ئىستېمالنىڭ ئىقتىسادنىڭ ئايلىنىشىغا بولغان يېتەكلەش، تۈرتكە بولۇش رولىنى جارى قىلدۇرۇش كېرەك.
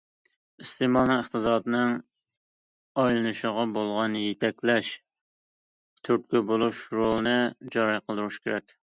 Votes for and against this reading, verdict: 2, 0, accepted